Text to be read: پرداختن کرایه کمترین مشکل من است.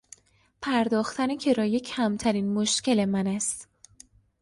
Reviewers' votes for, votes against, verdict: 2, 0, accepted